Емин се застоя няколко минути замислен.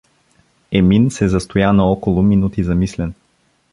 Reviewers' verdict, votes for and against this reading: rejected, 0, 2